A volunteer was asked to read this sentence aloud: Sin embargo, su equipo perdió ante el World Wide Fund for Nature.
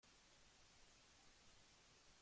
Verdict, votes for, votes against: rejected, 0, 2